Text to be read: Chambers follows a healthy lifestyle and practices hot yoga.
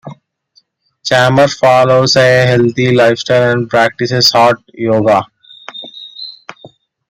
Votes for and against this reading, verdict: 2, 1, accepted